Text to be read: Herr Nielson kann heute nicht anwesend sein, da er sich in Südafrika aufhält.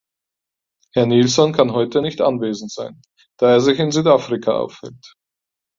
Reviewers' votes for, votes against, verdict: 4, 0, accepted